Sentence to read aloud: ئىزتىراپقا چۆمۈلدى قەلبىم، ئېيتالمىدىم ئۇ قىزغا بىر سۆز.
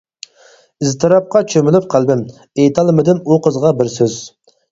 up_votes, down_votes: 0, 4